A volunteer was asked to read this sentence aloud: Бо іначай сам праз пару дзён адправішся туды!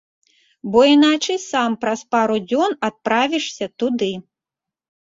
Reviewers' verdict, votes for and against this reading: accepted, 2, 0